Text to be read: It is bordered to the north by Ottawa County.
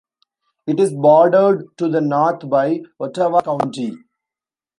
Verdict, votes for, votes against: accepted, 2, 0